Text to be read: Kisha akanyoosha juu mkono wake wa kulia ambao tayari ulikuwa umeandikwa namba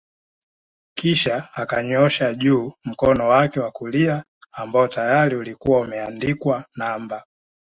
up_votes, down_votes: 2, 0